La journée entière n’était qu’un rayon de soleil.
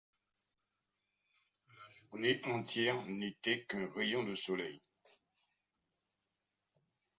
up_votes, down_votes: 1, 2